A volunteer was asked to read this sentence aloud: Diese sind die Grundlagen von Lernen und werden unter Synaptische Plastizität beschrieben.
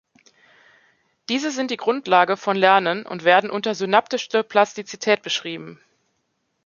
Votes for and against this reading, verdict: 0, 2, rejected